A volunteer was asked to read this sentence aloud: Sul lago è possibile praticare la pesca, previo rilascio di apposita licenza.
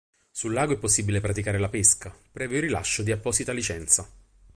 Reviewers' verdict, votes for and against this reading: rejected, 2, 2